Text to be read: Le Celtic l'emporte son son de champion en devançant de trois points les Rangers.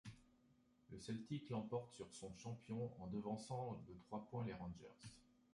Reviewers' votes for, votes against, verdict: 0, 2, rejected